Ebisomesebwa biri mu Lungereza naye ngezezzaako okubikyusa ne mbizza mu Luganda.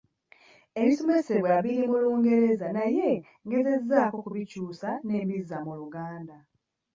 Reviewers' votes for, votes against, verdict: 1, 2, rejected